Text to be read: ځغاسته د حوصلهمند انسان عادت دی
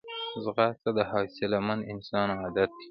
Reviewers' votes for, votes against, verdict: 0, 2, rejected